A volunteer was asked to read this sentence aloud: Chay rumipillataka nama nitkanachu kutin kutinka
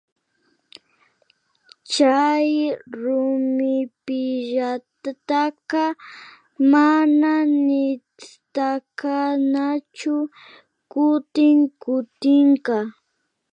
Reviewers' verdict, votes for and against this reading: rejected, 0, 2